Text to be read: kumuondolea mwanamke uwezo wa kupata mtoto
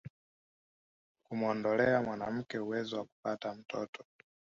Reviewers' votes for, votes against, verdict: 2, 0, accepted